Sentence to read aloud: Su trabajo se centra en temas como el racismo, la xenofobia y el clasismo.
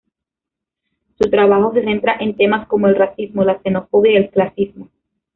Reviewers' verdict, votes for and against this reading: rejected, 1, 2